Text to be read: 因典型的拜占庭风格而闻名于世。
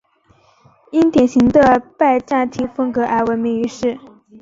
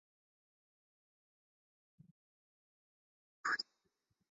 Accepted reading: first